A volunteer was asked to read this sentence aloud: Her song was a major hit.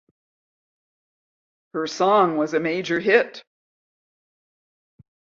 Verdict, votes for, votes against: accepted, 2, 0